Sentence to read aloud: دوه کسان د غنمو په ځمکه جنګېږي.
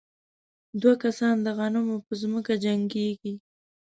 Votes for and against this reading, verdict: 3, 0, accepted